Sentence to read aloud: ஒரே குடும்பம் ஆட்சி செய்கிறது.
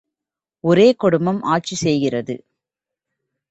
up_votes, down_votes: 2, 0